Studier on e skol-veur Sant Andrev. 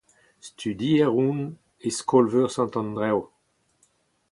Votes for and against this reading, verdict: 4, 0, accepted